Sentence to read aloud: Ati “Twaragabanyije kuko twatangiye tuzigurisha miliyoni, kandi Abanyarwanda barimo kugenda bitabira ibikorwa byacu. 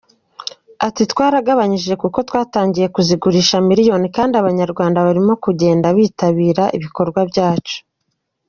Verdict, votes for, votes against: accepted, 2, 0